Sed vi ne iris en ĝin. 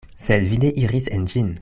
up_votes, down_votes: 1, 2